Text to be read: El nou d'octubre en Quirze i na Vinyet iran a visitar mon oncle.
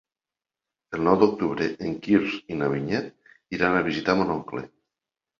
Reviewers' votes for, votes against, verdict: 1, 2, rejected